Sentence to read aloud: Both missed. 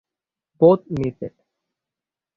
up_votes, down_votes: 6, 3